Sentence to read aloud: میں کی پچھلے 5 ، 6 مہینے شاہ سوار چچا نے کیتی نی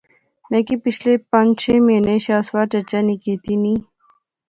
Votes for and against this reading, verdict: 0, 2, rejected